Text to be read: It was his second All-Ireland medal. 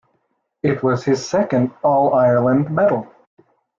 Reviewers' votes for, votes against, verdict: 2, 1, accepted